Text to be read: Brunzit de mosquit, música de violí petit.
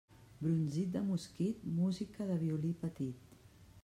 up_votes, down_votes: 0, 2